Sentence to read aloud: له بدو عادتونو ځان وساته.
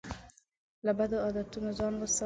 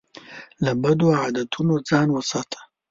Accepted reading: second